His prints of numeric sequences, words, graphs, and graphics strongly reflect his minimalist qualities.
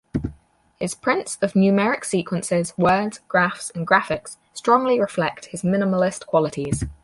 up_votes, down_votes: 4, 0